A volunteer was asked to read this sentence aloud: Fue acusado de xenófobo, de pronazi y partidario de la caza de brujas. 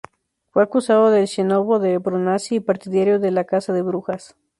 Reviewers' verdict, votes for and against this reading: rejected, 0, 2